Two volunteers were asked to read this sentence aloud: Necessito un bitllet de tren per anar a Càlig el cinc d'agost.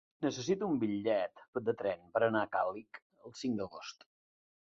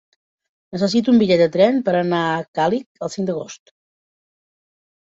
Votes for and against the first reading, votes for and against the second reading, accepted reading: 2, 1, 1, 2, first